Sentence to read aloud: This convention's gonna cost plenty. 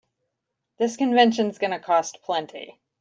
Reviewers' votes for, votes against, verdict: 2, 0, accepted